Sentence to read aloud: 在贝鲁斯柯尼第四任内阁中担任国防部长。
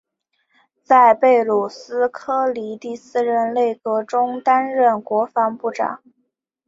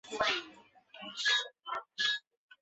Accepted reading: first